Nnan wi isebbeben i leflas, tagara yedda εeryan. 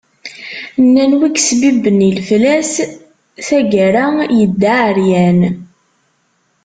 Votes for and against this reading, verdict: 2, 1, accepted